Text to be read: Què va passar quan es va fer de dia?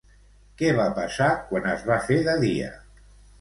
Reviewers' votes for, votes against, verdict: 2, 0, accepted